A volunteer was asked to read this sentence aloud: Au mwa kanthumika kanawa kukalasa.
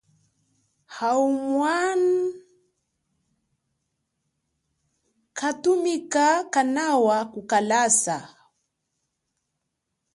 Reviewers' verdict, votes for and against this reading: accepted, 2, 1